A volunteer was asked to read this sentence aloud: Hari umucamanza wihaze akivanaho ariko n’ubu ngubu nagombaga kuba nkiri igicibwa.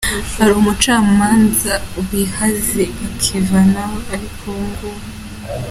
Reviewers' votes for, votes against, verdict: 1, 2, rejected